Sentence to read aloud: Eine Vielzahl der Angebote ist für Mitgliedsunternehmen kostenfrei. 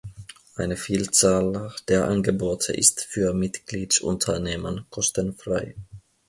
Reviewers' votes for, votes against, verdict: 2, 0, accepted